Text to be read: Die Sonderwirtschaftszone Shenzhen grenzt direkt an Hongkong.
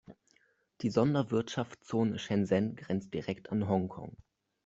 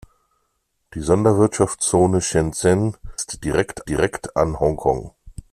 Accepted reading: first